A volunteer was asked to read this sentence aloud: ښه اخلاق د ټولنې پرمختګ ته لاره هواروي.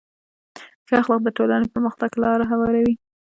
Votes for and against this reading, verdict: 0, 2, rejected